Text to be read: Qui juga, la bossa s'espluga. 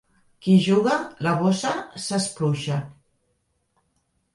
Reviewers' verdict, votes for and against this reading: rejected, 0, 2